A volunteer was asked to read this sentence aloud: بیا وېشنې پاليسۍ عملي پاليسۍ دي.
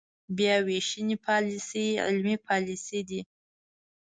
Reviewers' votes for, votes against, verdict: 1, 2, rejected